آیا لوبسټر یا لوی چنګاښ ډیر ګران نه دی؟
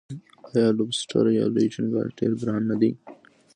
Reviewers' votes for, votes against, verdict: 1, 2, rejected